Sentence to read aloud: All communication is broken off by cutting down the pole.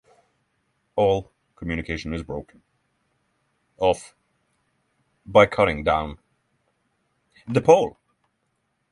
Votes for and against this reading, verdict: 6, 3, accepted